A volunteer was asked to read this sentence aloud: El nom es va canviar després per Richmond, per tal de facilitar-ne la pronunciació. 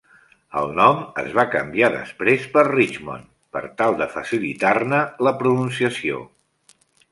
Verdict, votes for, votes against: accepted, 3, 0